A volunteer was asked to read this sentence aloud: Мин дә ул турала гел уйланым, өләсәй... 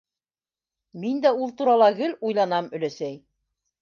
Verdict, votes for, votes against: rejected, 0, 2